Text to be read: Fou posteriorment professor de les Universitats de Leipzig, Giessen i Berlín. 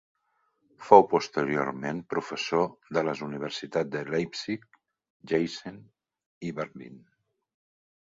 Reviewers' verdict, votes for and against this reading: rejected, 0, 2